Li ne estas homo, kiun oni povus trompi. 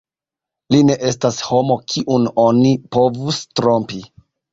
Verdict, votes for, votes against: accepted, 2, 0